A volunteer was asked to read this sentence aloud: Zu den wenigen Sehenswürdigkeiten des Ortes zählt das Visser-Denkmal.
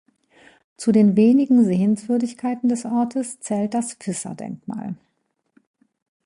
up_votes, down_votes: 2, 0